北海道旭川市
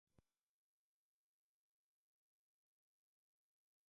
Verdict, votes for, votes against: rejected, 0, 2